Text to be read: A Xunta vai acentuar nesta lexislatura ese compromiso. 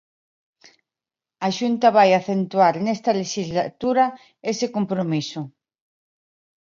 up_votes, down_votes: 2, 1